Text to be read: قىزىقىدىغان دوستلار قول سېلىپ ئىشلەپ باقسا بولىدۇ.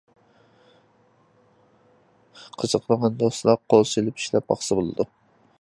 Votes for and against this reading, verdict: 1, 2, rejected